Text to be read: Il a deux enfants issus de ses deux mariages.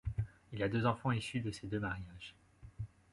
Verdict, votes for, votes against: accepted, 2, 0